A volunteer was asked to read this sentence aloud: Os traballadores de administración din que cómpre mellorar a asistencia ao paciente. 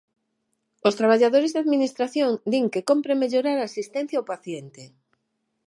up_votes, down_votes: 6, 3